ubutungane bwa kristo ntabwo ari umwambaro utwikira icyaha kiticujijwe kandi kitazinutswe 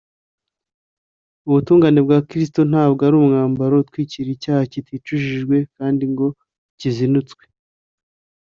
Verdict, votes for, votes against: accepted, 2, 0